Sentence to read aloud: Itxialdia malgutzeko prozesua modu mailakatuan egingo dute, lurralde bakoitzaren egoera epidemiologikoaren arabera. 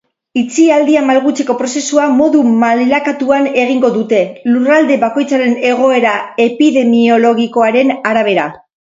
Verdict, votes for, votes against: accepted, 4, 0